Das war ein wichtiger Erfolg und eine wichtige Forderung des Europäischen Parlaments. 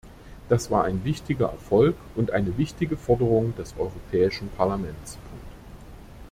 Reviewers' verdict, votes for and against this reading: rejected, 1, 2